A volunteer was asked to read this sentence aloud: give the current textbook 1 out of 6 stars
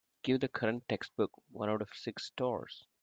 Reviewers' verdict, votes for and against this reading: rejected, 0, 2